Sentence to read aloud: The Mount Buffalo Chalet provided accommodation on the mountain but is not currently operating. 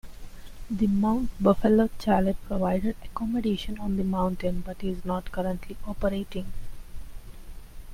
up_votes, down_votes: 1, 2